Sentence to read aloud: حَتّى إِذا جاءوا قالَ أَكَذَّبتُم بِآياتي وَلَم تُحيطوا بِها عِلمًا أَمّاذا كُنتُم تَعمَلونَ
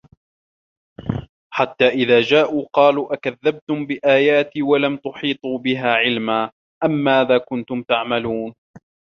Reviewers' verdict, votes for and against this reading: rejected, 1, 2